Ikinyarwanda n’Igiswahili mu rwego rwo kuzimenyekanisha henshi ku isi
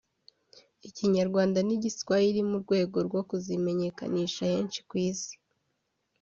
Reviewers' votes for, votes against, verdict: 2, 0, accepted